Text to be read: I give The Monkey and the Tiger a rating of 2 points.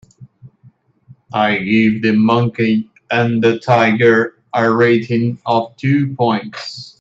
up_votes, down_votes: 0, 2